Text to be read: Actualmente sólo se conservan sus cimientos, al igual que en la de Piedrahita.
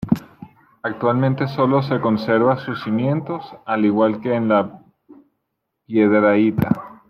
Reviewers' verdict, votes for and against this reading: rejected, 0, 2